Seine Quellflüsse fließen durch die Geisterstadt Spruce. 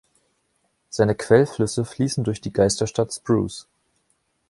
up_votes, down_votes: 2, 0